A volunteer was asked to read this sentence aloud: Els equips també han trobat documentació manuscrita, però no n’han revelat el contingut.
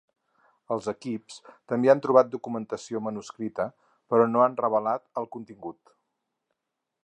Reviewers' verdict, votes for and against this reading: rejected, 2, 4